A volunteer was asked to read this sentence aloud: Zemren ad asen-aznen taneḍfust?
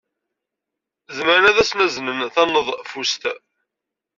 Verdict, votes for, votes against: rejected, 2, 3